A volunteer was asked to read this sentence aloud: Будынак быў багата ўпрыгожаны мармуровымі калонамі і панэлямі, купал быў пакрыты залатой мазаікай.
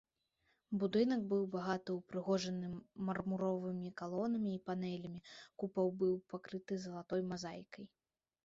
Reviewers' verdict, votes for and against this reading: accepted, 2, 0